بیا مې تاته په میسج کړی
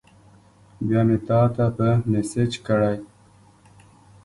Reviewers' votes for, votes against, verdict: 2, 0, accepted